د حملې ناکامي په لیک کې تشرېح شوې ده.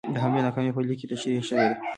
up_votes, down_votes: 2, 0